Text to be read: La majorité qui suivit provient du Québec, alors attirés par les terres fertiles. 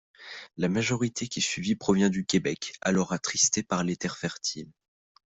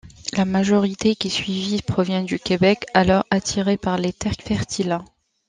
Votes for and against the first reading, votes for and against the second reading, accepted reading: 1, 2, 2, 0, second